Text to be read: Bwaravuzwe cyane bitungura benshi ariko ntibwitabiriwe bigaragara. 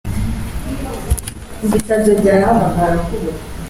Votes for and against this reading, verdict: 0, 2, rejected